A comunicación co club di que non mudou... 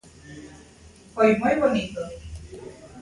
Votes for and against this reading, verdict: 0, 2, rejected